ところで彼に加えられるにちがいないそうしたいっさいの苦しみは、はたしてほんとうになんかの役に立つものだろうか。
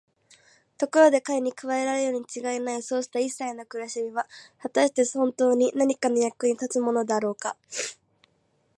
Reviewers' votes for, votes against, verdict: 4, 0, accepted